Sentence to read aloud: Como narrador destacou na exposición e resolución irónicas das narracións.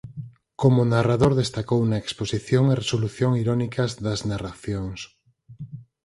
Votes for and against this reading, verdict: 2, 4, rejected